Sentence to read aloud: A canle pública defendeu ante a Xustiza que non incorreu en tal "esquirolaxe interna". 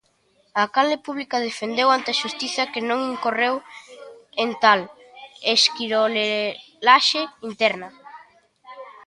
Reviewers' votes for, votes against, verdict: 0, 2, rejected